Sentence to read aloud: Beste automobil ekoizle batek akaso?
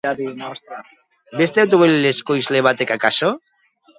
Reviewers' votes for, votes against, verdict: 1, 2, rejected